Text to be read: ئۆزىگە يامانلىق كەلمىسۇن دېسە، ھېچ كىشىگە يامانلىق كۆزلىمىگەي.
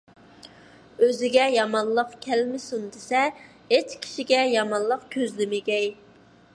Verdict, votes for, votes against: accepted, 2, 0